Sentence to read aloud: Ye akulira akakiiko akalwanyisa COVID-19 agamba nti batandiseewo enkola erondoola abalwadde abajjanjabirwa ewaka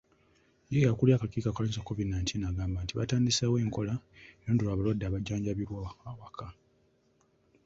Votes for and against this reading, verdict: 0, 2, rejected